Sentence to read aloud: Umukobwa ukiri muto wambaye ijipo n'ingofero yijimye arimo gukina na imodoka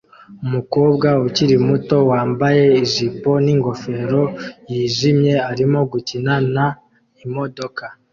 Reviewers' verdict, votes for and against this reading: accepted, 2, 0